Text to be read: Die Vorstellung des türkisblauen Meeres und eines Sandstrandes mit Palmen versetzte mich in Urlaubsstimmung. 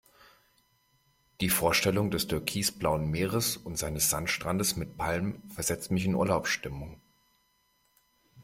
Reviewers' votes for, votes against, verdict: 1, 2, rejected